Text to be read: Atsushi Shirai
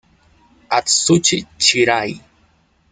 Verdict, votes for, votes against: rejected, 1, 2